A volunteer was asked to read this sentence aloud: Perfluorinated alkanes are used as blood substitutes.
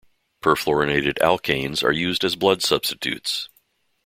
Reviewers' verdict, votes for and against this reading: accepted, 2, 0